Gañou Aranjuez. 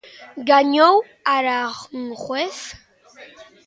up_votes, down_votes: 0, 2